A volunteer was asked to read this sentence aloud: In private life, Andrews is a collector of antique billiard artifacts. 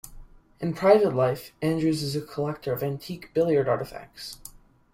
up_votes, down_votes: 2, 0